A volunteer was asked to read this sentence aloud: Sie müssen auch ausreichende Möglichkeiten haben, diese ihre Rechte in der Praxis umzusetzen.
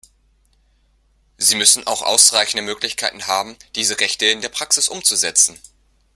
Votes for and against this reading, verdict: 1, 2, rejected